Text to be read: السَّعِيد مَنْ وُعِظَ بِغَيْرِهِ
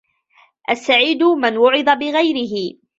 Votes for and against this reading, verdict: 0, 2, rejected